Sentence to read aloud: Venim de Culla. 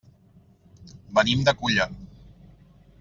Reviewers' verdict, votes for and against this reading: accepted, 2, 0